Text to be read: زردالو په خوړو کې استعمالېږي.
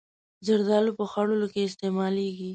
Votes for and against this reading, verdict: 1, 2, rejected